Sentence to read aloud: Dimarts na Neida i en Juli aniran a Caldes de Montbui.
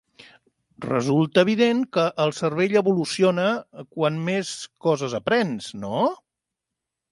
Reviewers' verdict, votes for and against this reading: rejected, 0, 2